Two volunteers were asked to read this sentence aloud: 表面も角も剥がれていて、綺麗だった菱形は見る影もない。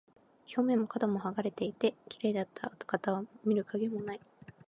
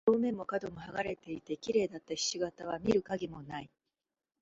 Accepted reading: second